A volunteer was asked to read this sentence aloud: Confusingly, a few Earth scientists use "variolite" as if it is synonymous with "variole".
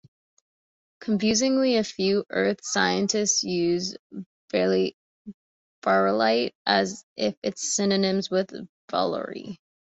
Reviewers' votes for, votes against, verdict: 0, 2, rejected